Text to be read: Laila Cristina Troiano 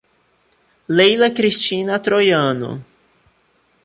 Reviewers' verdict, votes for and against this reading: rejected, 0, 2